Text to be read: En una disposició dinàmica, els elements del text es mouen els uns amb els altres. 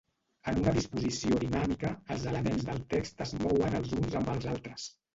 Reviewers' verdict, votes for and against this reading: rejected, 0, 2